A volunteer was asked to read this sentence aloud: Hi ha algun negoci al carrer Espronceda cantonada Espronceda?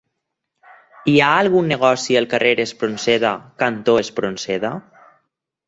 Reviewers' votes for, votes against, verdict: 0, 4, rejected